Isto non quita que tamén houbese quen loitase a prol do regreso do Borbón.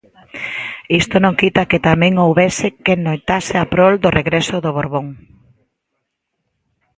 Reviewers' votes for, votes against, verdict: 2, 0, accepted